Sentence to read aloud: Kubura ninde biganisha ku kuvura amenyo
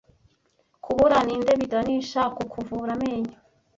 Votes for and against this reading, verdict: 2, 1, accepted